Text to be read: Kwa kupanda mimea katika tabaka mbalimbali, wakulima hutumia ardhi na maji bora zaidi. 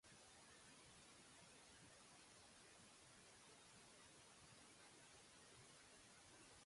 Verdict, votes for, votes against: rejected, 0, 2